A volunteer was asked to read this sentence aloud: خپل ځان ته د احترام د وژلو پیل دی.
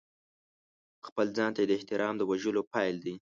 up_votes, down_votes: 3, 0